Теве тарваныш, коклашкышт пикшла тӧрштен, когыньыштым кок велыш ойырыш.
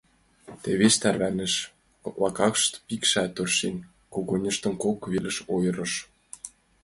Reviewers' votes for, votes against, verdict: 1, 2, rejected